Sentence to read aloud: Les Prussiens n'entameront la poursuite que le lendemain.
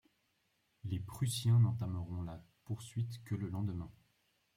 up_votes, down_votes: 0, 2